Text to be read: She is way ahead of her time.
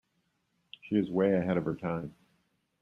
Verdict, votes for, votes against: accepted, 2, 0